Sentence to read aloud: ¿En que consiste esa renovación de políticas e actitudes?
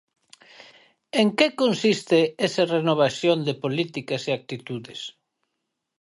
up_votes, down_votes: 4, 0